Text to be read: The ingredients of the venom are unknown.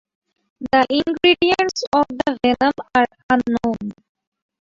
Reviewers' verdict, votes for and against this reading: rejected, 0, 2